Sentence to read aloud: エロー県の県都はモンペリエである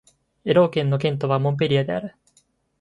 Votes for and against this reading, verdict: 3, 0, accepted